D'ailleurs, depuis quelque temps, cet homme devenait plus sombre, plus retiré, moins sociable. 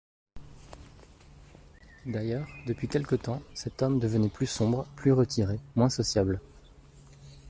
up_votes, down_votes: 2, 0